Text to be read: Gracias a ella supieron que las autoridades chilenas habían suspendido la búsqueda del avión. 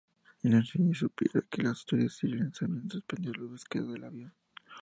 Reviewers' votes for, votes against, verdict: 0, 2, rejected